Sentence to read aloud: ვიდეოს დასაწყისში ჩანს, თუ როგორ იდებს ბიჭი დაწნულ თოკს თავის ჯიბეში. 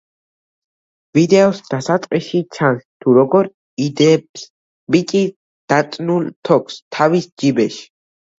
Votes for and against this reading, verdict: 1, 2, rejected